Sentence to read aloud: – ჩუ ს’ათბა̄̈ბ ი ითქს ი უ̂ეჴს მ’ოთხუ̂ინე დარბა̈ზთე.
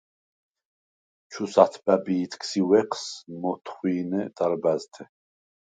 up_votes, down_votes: 2, 4